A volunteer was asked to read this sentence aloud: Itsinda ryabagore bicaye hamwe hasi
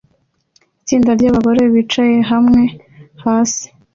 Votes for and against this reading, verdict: 2, 0, accepted